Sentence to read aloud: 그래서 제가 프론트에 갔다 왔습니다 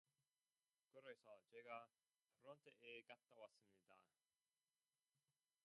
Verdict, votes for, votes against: rejected, 0, 2